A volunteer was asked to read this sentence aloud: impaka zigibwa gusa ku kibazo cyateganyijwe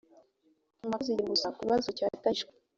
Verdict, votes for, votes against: rejected, 1, 2